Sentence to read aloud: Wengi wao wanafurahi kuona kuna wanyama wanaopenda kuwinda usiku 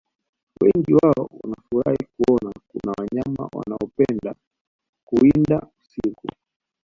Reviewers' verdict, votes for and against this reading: rejected, 0, 3